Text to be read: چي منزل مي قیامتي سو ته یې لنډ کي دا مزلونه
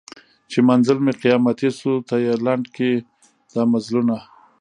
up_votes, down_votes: 0, 2